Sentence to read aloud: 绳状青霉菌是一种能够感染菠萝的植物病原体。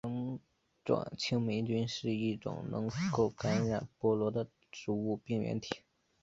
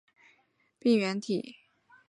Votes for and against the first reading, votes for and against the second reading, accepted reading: 2, 0, 1, 2, first